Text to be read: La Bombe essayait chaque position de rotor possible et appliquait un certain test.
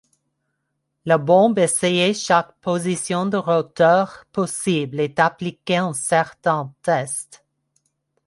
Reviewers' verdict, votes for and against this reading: accepted, 2, 1